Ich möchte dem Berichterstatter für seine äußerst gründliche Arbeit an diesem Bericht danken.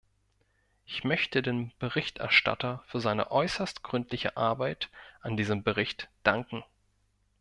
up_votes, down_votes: 2, 0